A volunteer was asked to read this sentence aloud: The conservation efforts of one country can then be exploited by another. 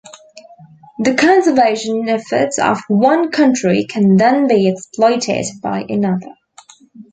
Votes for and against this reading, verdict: 2, 0, accepted